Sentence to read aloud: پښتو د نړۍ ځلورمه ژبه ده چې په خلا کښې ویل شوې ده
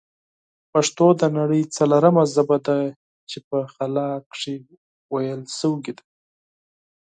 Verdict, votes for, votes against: accepted, 4, 2